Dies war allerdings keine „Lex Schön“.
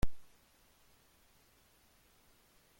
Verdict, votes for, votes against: rejected, 0, 2